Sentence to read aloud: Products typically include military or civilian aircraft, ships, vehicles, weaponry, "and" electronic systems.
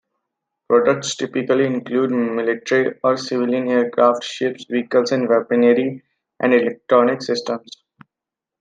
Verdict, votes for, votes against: accepted, 2, 0